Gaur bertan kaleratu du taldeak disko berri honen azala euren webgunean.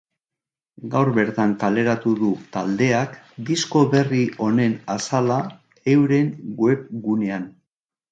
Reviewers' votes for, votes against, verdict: 4, 0, accepted